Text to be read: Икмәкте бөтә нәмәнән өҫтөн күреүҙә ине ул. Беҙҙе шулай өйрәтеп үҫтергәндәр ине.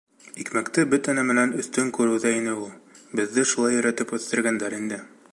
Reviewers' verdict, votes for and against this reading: rejected, 1, 2